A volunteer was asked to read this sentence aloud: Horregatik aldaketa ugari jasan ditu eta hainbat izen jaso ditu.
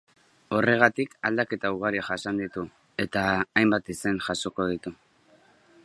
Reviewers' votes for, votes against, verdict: 0, 2, rejected